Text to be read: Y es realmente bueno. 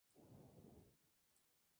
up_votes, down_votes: 0, 2